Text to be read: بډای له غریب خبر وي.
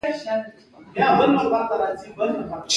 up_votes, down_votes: 2, 1